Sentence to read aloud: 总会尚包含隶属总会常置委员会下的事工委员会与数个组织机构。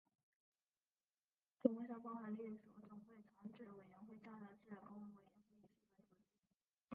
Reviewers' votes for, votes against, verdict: 0, 3, rejected